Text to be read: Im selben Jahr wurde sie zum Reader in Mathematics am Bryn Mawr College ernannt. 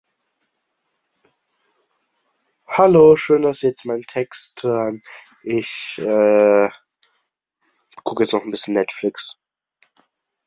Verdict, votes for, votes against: rejected, 0, 2